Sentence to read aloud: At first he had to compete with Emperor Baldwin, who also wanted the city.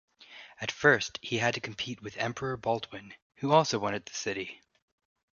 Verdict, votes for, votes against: rejected, 1, 2